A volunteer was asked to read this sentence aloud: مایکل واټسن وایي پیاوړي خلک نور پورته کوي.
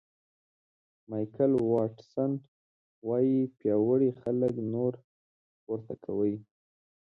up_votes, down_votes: 2, 0